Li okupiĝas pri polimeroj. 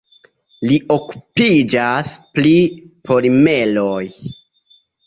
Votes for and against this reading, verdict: 0, 2, rejected